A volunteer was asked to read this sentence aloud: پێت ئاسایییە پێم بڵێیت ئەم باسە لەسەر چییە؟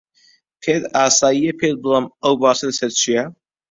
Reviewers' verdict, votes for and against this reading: rejected, 0, 2